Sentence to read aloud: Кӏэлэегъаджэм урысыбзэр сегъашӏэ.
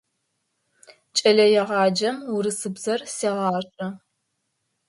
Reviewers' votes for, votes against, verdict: 5, 0, accepted